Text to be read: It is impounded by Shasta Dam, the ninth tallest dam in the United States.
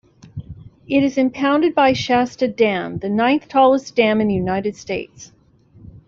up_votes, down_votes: 0, 2